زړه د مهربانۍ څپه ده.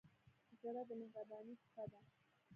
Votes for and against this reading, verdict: 1, 2, rejected